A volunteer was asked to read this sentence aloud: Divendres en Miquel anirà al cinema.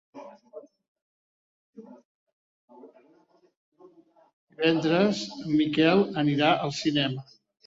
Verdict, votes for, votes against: rejected, 0, 2